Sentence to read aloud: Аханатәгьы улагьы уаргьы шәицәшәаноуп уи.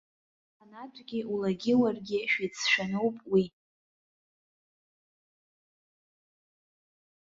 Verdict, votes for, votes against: rejected, 0, 3